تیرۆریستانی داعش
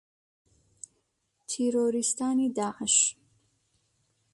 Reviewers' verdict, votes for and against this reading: accepted, 2, 0